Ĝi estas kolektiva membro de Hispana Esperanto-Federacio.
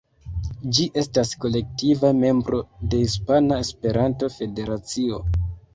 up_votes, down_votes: 1, 2